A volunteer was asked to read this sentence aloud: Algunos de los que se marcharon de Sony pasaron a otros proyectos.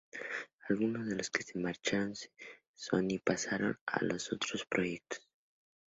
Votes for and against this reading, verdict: 0, 2, rejected